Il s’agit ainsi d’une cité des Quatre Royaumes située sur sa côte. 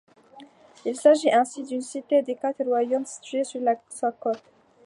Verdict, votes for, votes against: rejected, 1, 2